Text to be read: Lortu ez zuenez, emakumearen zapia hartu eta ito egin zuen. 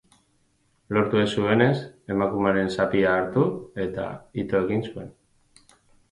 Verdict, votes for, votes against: accepted, 6, 4